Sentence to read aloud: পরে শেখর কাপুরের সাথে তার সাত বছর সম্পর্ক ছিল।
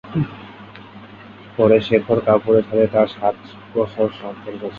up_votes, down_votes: 4, 5